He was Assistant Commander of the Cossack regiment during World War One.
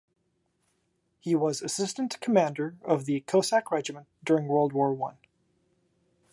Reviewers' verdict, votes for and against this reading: accepted, 2, 1